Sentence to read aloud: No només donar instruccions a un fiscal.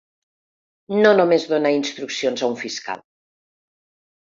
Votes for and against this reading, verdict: 3, 0, accepted